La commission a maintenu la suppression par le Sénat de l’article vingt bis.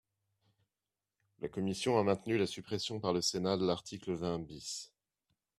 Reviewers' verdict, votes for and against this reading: accepted, 2, 0